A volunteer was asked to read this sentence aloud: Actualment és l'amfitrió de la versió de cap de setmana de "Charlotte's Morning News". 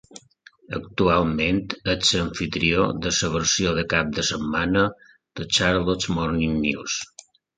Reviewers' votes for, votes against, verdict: 1, 2, rejected